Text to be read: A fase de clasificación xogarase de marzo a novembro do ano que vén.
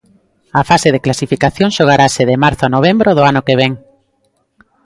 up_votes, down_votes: 0, 2